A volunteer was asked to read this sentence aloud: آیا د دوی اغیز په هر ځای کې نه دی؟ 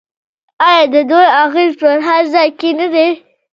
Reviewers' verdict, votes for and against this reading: rejected, 0, 2